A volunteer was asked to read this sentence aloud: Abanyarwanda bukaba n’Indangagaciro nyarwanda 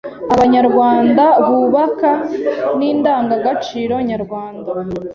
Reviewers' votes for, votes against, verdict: 0, 2, rejected